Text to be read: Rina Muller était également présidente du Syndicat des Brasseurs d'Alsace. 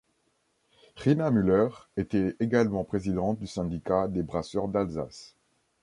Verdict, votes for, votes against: accepted, 3, 0